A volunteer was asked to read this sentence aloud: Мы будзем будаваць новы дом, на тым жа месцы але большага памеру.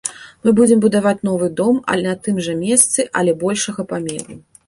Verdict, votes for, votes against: rejected, 0, 2